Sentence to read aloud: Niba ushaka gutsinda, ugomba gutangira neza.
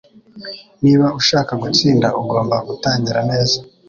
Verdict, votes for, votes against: accepted, 2, 0